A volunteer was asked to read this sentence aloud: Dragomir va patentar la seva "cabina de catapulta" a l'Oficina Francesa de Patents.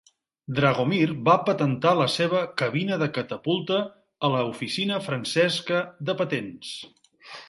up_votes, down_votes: 0, 2